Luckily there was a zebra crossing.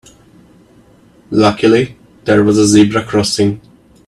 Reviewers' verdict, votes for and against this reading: accepted, 2, 0